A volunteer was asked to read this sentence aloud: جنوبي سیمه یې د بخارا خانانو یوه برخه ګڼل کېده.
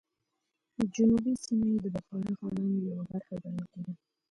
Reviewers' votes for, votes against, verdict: 0, 2, rejected